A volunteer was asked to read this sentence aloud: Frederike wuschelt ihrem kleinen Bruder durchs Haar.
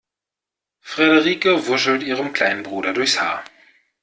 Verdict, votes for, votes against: accepted, 2, 0